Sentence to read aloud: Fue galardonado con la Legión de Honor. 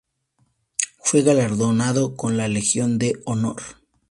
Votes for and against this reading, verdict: 4, 0, accepted